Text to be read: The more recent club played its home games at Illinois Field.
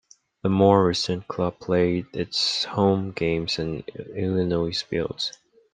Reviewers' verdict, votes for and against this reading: rejected, 0, 2